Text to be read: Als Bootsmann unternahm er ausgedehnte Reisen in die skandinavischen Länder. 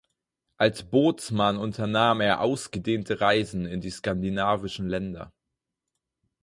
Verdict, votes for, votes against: accepted, 4, 0